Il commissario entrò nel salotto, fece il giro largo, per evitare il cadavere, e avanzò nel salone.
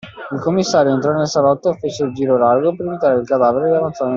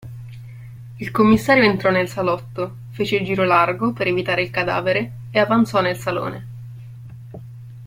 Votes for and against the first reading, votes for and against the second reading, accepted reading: 0, 2, 2, 0, second